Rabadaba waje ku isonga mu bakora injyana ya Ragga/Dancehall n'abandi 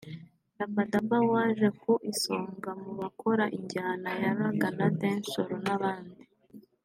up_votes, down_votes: 2, 0